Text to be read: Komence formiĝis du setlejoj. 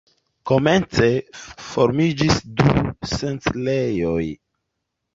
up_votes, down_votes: 2, 0